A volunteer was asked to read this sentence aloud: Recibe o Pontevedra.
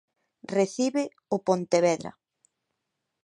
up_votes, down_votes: 2, 0